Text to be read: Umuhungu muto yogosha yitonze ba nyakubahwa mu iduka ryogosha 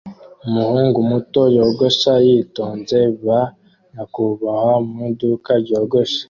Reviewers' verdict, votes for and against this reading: accepted, 2, 0